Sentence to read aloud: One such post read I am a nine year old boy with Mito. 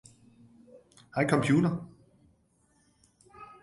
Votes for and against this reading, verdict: 0, 2, rejected